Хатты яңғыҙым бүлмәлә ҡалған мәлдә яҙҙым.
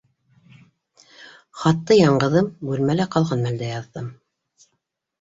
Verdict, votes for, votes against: accepted, 2, 0